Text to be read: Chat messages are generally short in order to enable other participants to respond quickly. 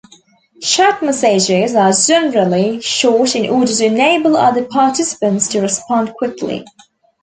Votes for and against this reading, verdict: 2, 0, accepted